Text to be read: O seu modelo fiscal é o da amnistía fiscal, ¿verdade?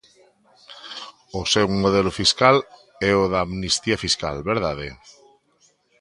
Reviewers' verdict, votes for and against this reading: accepted, 2, 0